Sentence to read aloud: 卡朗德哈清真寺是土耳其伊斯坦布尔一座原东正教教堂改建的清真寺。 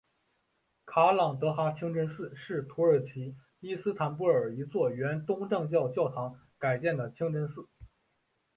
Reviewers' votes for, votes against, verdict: 3, 0, accepted